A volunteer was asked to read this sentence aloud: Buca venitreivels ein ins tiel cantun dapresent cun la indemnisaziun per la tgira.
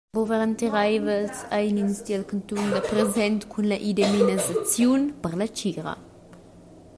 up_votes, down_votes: 0, 2